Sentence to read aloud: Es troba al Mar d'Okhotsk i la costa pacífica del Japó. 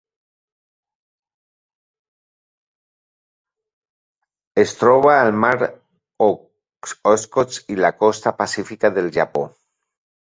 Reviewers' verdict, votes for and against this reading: rejected, 0, 2